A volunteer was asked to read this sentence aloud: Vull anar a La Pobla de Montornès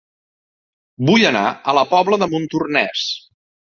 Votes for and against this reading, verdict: 2, 0, accepted